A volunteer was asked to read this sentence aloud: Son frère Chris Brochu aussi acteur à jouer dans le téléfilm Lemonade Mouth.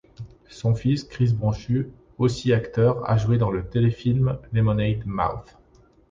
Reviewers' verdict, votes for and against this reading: rejected, 0, 2